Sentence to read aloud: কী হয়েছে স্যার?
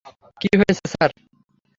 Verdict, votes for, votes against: rejected, 0, 3